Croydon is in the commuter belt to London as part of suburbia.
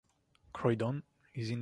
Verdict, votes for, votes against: rejected, 0, 2